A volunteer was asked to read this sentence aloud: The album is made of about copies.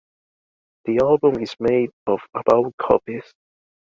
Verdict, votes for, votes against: accepted, 2, 1